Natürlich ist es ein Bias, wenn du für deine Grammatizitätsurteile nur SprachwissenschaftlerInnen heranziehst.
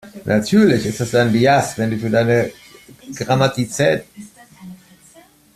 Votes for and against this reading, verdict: 0, 2, rejected